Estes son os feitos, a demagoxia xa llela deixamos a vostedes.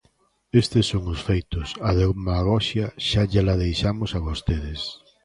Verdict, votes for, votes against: accepted, 2, 1